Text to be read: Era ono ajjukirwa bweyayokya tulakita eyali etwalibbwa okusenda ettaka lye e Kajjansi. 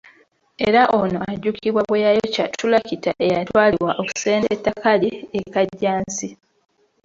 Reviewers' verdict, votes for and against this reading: rejected, 0, 2